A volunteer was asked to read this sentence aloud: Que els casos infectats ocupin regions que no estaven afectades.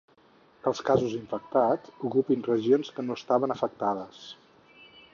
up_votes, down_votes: 4, 0